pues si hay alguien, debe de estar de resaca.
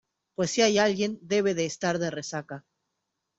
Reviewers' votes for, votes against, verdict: 2, 0, accepted